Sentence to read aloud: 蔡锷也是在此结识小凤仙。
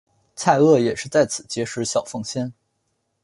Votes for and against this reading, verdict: 2, 0, accepted